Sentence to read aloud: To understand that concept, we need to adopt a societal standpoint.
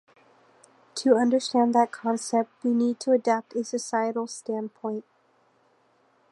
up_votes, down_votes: 0, 2